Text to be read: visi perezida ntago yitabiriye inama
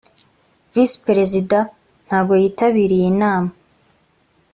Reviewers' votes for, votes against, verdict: 2, 0, accepted